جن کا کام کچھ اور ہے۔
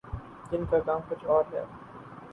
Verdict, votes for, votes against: rejected, 2, 2